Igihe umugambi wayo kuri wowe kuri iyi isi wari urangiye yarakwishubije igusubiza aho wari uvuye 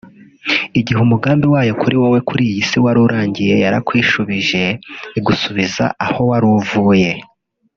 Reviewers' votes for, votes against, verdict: 0, 2, rejected